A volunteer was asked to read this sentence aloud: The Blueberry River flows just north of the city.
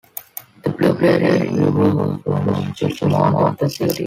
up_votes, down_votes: 1, 2